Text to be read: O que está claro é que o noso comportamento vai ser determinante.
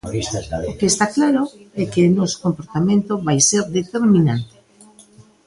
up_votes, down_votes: 0, 2